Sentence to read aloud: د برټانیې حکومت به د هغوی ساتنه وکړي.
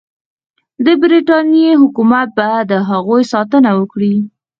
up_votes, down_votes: 0, 4